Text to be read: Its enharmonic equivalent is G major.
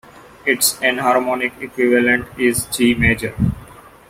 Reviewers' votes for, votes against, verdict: 3, 0, accepted